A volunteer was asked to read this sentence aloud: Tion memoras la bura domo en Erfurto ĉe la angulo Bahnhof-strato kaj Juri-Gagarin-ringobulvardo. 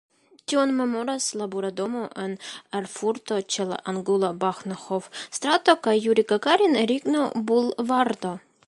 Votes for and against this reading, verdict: 1, 2, rejected